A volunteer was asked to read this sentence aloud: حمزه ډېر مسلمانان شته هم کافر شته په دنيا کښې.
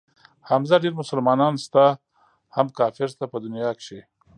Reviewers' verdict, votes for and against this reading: accepted, 2, 0